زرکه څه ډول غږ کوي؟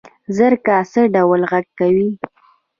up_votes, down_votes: 1, 2